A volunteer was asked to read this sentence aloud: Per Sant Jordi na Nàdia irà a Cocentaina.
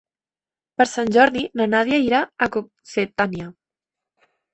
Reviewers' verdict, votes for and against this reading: rejected, 0, 2